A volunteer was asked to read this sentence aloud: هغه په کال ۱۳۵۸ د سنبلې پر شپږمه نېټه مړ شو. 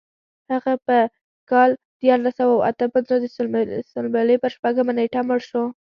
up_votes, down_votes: 0, 2